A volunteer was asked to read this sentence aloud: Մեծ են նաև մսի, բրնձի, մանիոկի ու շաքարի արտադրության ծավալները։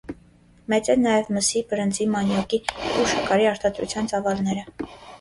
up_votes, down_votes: 0, 2